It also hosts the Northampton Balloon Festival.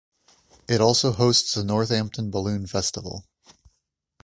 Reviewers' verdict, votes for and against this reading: accepted, 2, 0